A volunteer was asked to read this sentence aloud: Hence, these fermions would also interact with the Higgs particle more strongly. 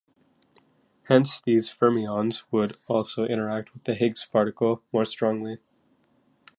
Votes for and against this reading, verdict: 2, 0, accepted